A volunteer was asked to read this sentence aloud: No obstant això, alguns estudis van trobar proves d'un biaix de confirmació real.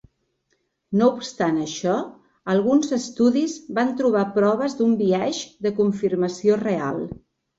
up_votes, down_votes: 2, 0